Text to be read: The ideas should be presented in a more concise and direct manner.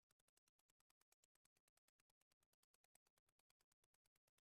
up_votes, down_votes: 0, 2